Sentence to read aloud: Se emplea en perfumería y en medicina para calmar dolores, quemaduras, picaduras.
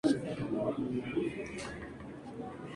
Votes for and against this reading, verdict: 0, 2, rejected